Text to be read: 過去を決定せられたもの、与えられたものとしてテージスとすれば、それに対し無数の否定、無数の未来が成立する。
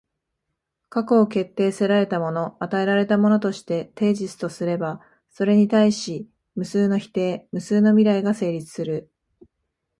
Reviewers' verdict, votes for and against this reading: accepted, 4, 0